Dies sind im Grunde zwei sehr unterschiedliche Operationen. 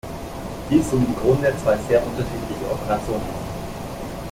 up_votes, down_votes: 1, 2